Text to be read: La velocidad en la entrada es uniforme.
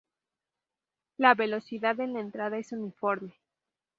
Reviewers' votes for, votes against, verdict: 0, 2, rejected